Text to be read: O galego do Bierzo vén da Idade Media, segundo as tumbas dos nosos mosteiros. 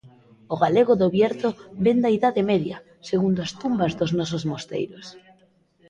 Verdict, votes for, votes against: accepted, 2, 0